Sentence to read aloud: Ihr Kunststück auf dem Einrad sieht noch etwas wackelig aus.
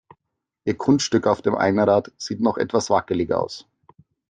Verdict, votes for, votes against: accepted, 2, 0